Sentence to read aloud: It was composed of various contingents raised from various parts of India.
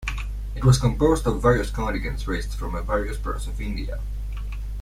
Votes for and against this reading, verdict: 2, 1, accepted